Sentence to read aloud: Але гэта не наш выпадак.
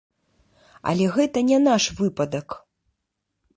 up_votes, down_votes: 2, 0